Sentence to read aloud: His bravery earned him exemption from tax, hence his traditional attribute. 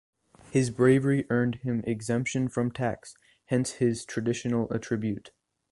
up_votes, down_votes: 4, 1